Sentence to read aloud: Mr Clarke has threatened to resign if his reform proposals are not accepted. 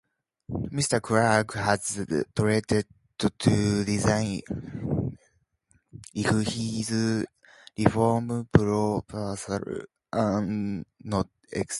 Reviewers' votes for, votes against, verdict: 0, 2, rejected